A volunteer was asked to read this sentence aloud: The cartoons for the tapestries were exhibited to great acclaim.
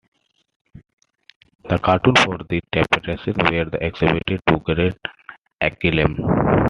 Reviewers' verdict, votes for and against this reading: rejected, 0, 3